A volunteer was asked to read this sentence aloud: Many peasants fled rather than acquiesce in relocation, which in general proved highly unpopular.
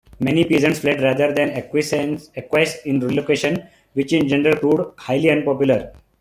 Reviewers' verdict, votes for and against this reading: rejected, 1, 3